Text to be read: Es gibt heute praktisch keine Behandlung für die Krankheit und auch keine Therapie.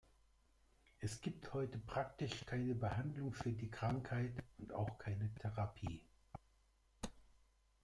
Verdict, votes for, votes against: accepted, 2, 0